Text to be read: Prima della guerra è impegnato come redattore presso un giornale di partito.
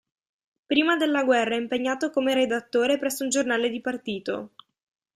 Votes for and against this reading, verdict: 2, 0, accepted